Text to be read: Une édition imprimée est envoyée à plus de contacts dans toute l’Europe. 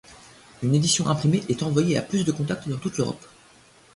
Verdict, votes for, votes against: accepted, 2, 0